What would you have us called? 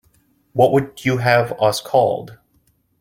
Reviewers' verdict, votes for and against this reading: accepted, 2, 0